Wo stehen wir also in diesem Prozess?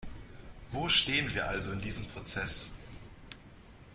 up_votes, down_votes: 2, 0